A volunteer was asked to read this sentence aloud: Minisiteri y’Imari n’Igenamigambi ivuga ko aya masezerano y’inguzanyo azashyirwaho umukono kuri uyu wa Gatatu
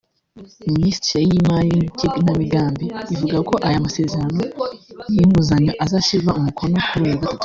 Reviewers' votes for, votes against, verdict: 0, 2, rejected